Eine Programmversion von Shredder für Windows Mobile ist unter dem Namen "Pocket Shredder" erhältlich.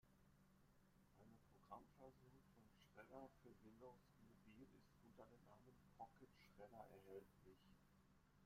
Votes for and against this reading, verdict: 1, 2, rejected